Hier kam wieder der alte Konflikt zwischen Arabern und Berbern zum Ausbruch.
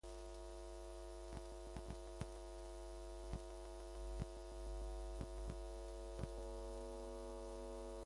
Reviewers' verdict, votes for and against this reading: rejected, 0, 2